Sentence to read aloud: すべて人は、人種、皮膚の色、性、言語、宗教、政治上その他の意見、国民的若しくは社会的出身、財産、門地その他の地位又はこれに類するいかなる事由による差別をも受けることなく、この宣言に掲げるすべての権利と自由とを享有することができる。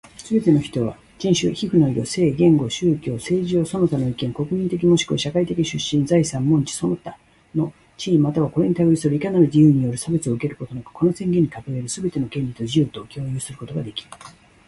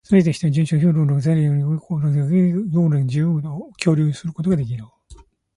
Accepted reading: first